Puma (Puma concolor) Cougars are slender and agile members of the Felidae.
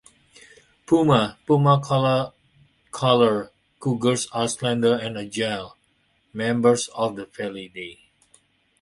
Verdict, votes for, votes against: rejected, 1, 2